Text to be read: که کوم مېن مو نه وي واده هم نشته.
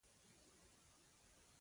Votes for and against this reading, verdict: 1, 2, rejected